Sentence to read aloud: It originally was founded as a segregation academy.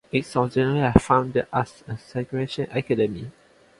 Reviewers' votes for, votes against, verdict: 0, 2, rejected